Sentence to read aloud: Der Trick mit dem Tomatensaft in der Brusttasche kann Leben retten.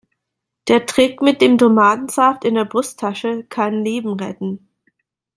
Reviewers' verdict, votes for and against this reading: accepted, 2, 0